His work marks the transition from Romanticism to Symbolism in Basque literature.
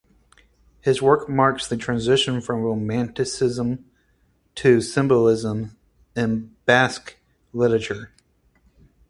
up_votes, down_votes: 4, 0